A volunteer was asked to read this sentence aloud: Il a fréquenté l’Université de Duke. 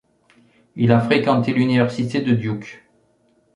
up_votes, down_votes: 3, 0